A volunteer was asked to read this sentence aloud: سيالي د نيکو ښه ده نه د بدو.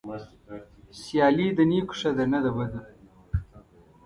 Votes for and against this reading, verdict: 2, 0, accepted